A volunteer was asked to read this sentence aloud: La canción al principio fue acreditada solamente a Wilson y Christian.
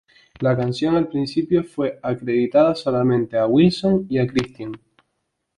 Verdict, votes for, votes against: rejected, 0, 4